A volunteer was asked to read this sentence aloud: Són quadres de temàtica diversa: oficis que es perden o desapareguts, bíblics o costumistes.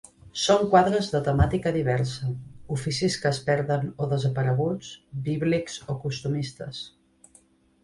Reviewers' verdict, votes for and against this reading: accepted, 2, 0